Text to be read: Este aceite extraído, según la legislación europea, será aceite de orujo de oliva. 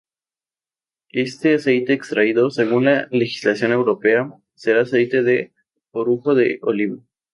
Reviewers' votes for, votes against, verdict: 0, 2, rejected